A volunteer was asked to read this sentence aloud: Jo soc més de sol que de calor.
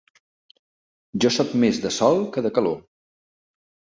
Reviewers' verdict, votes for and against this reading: accepted, 3, 0